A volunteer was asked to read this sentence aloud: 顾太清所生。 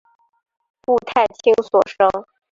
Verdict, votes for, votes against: accepted, 2, 0